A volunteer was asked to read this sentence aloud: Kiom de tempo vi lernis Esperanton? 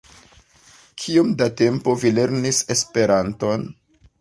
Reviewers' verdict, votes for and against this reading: accepted, 2, 0